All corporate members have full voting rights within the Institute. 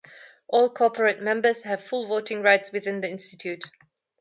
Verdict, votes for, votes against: accepted, 2, 0